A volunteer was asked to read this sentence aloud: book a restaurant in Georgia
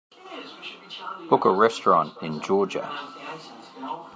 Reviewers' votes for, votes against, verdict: 2, 0, accepted